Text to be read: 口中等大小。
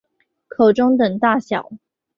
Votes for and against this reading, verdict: 2, 0, accepted